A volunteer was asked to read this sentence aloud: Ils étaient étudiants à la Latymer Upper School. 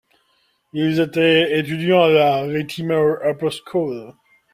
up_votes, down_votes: 2, 0